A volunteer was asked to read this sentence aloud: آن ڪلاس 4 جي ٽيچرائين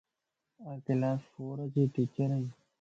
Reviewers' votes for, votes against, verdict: 0, 2, rejected